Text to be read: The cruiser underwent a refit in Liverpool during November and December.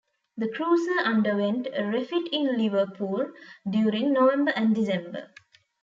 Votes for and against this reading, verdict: 2, 0, accepted